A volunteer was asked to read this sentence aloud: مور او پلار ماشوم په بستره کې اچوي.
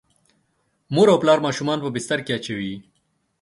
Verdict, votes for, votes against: rejected, 0, 2